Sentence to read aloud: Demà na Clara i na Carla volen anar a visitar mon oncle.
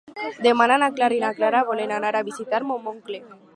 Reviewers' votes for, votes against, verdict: 0, 4, rejected